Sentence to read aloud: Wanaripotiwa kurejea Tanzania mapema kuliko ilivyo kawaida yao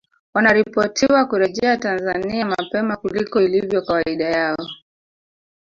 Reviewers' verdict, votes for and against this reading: accepted, 3, 0